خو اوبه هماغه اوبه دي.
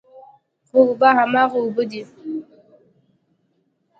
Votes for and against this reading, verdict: 2, 0, accepted